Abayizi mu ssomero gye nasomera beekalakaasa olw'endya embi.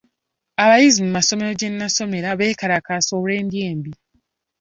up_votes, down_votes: 0, 2